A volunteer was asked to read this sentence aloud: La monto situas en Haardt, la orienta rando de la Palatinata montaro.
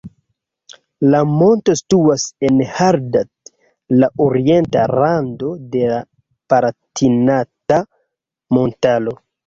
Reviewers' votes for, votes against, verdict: 1, 2, rejected